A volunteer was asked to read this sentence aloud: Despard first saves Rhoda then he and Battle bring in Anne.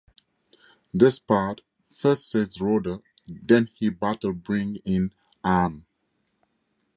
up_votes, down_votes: 6, 0